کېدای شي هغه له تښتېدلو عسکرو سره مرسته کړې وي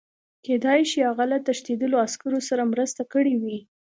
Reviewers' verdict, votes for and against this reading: accepted, 2, 0